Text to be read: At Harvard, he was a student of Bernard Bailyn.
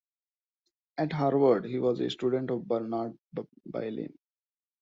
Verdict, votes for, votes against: rejected, 1, 2